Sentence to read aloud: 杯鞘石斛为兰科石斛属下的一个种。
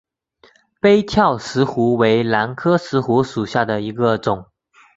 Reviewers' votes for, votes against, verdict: 2, 1, accepted